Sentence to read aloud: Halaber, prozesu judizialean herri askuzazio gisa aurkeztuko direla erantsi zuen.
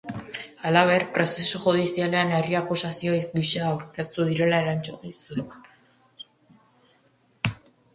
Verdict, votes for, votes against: rejected, 0, 2